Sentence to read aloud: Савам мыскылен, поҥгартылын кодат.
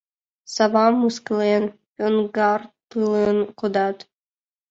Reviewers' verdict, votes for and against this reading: rejected, 0, 2